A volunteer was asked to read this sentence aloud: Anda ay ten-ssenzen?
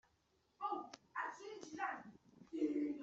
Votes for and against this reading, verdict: 1, 2, rejected